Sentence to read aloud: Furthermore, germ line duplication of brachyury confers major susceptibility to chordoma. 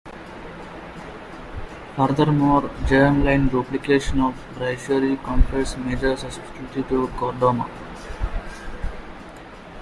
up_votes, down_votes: 1, 2